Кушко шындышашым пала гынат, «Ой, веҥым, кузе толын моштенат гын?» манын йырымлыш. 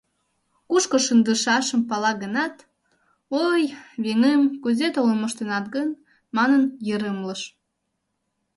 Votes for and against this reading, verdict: 1, 2, rejected